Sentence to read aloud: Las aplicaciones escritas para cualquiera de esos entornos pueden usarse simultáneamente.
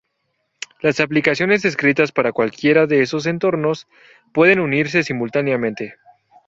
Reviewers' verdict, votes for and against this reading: rejected, 2, 2